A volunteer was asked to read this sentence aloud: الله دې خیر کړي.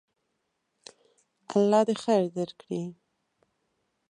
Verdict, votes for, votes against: rejected, 1, 2